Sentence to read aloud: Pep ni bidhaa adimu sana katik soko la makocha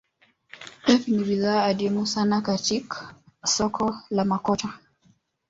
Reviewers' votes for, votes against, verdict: 2, 1, accepted